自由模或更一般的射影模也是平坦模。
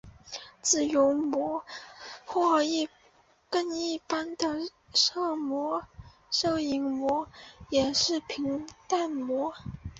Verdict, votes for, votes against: rejected, 1, 3